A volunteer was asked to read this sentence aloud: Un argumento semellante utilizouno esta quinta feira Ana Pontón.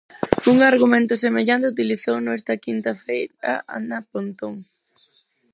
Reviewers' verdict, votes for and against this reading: rejected, 0, 4